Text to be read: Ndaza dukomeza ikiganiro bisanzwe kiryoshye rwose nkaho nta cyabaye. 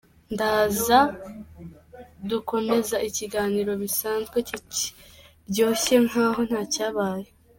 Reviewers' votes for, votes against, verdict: 2, 1, accepted